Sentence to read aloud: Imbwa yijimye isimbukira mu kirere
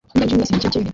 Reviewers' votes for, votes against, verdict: 0, 2, rejected